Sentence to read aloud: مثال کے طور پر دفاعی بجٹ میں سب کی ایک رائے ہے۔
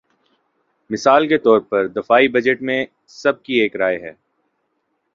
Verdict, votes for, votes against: rejected, 1, 2